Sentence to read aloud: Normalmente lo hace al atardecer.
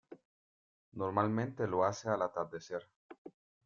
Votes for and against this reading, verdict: 2, 0, accepted